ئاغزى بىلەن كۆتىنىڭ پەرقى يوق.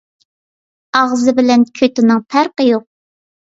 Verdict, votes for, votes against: accepted, 2, 0